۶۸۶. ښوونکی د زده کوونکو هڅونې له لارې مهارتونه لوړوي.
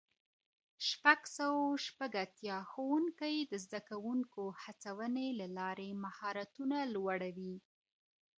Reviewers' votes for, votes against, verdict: 0, 2, rejected